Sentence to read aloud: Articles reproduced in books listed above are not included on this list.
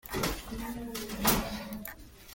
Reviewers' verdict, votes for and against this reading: rejected, 0, 2